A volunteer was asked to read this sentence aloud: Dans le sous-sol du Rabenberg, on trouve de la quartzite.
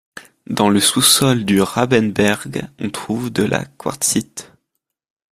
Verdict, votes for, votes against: accepted, 2, 0